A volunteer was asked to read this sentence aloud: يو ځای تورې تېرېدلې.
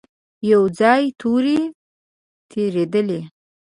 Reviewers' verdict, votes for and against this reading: accepted, 2, 0